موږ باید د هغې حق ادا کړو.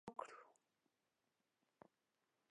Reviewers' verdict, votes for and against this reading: rejected, 1, 2